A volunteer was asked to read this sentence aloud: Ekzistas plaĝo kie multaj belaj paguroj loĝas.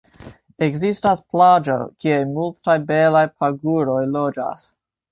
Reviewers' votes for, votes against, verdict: 1, 2, rejected